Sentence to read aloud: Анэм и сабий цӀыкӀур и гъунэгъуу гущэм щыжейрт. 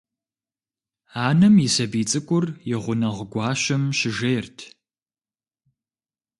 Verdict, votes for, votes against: rejected, 1, 2